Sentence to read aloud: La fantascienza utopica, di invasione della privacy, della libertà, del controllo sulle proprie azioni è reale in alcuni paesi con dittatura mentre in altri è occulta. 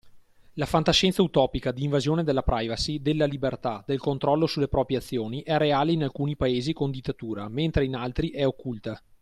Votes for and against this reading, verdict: 3, 0, accepted